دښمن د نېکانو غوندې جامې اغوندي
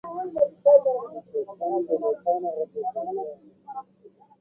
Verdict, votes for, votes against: rejected, 0, 2